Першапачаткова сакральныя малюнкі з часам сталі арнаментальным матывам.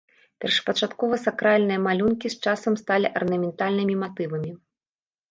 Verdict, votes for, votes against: rejected, 0, 2